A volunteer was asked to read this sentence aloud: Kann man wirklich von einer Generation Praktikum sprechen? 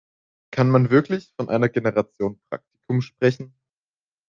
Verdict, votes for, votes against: rejected, 0, 2